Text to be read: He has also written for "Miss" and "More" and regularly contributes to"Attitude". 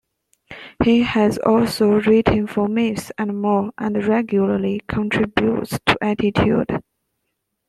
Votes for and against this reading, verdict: 1, 2, rejected